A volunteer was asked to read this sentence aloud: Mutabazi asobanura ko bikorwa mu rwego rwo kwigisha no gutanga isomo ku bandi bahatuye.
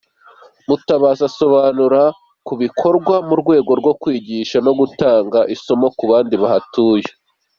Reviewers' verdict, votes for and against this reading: rejected, 1, 2